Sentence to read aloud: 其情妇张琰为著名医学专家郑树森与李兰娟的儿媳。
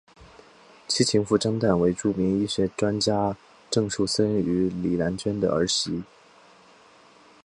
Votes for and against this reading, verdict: 2, 3, rejected